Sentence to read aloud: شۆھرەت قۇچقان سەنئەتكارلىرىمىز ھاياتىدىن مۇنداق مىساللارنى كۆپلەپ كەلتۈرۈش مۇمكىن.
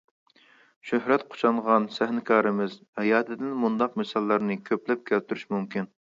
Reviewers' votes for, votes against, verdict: 0, 2, rejected